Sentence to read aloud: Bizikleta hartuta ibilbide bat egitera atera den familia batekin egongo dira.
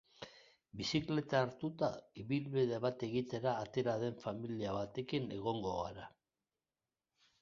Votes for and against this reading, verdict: 1, 2, rejected